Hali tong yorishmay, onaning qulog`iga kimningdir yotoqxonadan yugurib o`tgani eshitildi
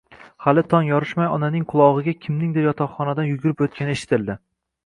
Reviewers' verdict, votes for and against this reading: accepted, 2, 0